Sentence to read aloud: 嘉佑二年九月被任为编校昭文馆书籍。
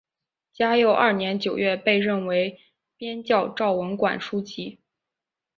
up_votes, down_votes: 2, 0